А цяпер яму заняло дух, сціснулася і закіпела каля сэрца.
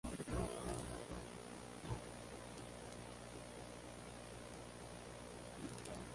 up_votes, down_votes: 0, 2